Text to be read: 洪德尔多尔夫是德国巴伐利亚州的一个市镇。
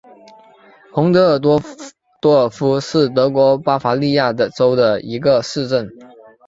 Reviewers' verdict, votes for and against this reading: rejected, 0, 2